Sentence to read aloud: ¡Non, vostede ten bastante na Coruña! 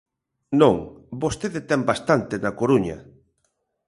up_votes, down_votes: 0, 2